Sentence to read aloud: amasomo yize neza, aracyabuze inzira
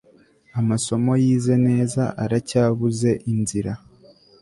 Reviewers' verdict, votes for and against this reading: accepted, 2, 0